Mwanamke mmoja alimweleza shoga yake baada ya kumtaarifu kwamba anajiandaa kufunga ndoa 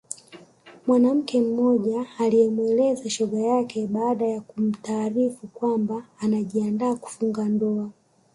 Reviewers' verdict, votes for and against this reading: rejected, 0, 2